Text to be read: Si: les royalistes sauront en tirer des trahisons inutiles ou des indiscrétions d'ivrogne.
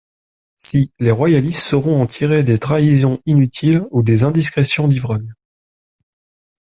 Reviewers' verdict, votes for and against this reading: accepted, 2, 0